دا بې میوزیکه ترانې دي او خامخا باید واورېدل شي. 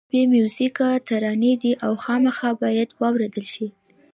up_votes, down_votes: 2, 1